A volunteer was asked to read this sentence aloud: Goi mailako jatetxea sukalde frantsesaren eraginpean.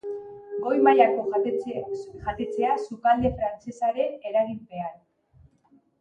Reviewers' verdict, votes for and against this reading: rejected, 0, 2